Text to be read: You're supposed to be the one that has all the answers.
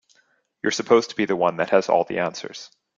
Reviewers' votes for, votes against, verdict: 3, 0, accepted